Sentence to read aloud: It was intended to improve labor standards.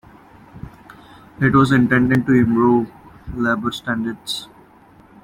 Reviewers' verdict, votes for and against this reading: accepted, 2, 0